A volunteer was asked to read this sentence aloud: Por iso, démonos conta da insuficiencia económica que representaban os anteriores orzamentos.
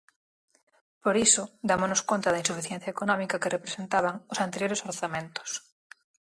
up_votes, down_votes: 0, 4